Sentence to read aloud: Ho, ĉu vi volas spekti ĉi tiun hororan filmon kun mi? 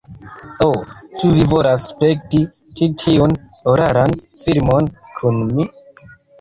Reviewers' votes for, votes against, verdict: 0, 2, rejected